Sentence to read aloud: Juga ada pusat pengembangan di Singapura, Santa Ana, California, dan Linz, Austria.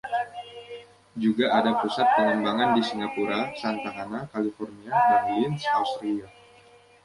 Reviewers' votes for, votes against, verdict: 1, 2, rejected